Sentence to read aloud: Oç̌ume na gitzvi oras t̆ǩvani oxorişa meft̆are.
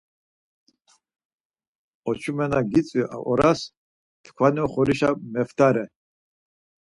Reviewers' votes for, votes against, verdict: 4, 0, accepted